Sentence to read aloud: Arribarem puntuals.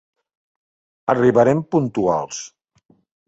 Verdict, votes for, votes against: accepted, 3, 0